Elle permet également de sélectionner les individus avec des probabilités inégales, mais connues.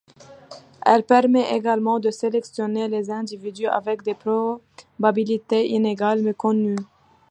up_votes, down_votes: 0, 2